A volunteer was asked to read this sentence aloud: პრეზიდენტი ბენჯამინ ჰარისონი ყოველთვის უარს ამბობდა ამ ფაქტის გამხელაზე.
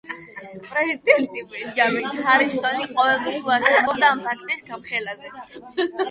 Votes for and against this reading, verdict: 8, 0, accepted